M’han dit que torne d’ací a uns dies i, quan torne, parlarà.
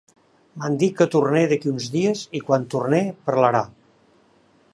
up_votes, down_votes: 0, 2